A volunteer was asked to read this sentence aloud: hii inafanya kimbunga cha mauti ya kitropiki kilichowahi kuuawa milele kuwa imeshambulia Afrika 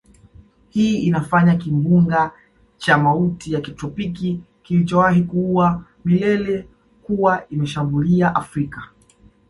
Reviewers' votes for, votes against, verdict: 0, 2, rejected